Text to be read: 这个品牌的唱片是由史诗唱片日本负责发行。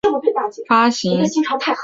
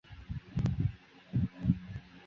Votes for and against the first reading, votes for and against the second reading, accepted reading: 2, 0, 0, 6, first